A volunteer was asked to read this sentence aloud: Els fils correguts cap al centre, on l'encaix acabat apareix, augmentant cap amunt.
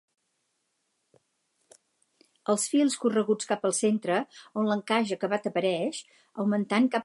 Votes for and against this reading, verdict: 0, 4, rejected